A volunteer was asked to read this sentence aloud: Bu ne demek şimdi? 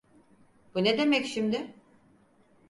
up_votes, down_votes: 4, 0